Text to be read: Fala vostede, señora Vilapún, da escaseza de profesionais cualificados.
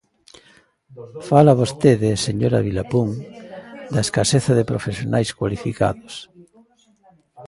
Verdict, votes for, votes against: accepted, 2, 0